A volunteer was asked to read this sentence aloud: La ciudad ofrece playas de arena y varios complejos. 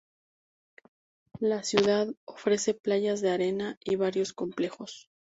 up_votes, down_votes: 2, 0